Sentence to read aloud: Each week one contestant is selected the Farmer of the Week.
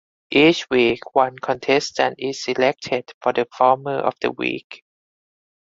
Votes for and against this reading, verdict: 0, 4, rejected